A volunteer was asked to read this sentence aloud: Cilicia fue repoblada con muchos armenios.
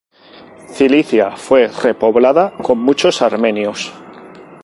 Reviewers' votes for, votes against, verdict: 2, 0, accepted